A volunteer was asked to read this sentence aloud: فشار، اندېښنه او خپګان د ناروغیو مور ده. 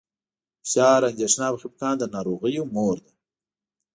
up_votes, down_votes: 2, 0